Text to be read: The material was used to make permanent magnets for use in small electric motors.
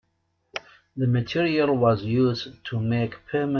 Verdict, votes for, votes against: rejected, 0, 2